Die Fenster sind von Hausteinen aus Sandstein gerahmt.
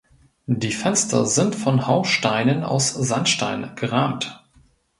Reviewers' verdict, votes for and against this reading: rejected, 0, 2